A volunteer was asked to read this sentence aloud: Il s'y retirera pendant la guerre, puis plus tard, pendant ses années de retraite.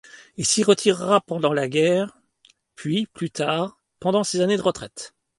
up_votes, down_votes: 2, 0